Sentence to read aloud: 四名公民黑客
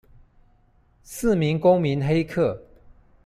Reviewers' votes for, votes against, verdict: 2, 0, accepted